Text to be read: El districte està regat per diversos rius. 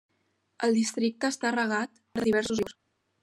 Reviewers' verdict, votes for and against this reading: rejected, 0, 2